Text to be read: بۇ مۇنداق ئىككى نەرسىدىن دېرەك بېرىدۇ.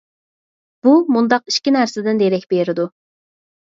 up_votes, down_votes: 4, 0